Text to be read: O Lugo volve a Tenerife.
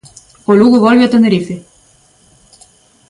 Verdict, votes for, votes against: accepted, 2, 0